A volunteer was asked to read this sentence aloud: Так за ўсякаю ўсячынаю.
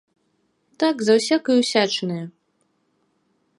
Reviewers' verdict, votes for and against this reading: accepted, 2, 0